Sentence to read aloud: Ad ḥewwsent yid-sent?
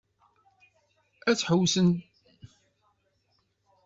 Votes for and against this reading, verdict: 0, 2, rejected